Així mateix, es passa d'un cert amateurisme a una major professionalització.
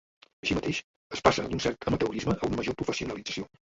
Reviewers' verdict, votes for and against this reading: rejected, 1, 2